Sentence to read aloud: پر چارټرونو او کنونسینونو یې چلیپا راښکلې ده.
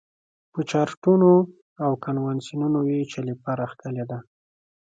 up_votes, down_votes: 2, 0